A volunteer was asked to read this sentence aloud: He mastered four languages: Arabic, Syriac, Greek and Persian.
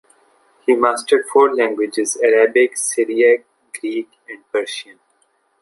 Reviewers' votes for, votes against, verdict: 0, 2, rejected